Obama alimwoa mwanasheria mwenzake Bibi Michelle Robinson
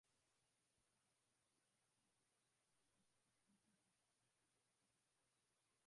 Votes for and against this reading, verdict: 0, 2, rejected